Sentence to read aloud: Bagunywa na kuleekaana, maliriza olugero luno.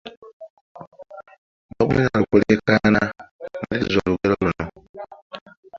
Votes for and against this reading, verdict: 1, 2, rejected